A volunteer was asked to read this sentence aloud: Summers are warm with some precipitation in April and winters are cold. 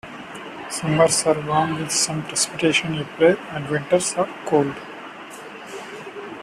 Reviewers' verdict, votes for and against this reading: rejected, 0, 2